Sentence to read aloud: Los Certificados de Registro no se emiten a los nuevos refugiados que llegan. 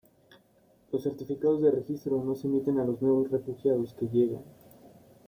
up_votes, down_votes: 2, 1